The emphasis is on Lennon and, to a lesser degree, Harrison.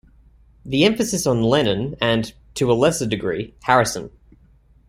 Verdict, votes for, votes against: rejected, 0, 2